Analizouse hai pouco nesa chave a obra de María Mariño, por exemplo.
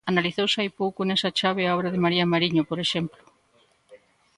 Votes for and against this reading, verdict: 2, 0, accepted